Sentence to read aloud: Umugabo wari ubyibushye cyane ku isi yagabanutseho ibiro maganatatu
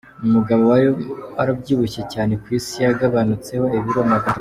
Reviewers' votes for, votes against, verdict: 0, 2, rejected